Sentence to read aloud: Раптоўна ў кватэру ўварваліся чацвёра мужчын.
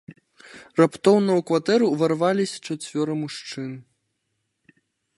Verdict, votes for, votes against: accepted, 2, 0